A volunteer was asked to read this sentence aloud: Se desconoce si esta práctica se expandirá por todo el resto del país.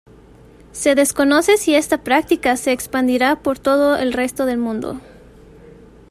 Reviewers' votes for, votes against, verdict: 0, 2, rejected